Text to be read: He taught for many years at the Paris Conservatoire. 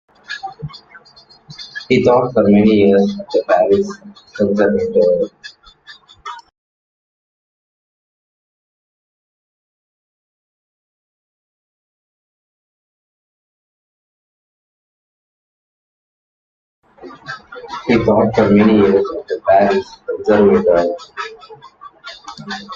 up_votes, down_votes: 0, 2